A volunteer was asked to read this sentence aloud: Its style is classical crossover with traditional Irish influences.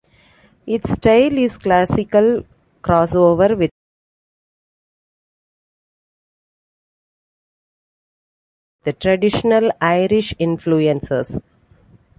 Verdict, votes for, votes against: rejected, 0, 2